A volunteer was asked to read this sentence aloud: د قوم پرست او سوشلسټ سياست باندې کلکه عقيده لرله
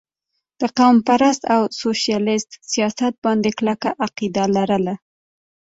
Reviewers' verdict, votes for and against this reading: accepted, 2, 1